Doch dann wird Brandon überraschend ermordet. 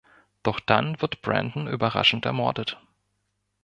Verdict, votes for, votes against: accepted, 2, 0